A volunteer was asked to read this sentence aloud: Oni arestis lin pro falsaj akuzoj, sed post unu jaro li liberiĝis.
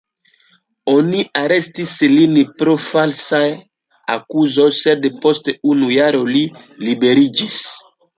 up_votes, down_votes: 1, 2